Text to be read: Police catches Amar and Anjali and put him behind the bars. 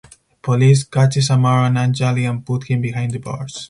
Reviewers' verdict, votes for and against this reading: accepted, 4, 2